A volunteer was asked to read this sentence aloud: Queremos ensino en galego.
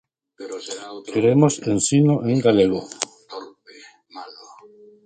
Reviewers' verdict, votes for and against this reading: rejected, 0, 2